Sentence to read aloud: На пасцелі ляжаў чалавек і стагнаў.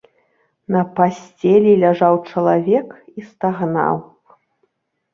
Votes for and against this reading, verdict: 3, 0, accepted